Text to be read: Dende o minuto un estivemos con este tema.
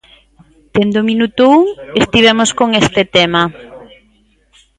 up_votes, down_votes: 1, 2